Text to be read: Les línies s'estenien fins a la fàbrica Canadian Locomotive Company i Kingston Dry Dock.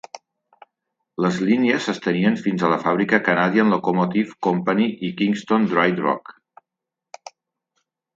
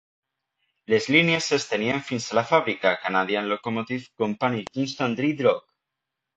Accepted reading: first